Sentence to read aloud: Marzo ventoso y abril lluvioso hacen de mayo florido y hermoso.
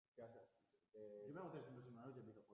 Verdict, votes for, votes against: rejected, 0, 2